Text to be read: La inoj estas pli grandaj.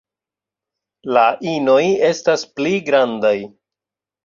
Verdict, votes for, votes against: accepted, 2, 0